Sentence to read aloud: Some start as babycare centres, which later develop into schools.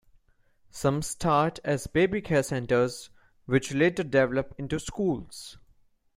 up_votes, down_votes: 2, 0